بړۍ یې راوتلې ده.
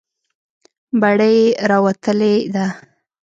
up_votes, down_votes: 1, 2